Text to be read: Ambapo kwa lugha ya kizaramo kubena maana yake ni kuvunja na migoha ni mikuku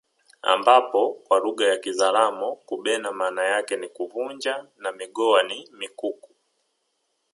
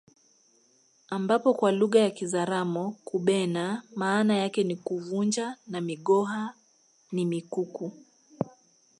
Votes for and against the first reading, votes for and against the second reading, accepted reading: 3, 0, 1, 2, first